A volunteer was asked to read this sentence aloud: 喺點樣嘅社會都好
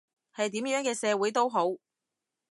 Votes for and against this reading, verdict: 0, 2, rejected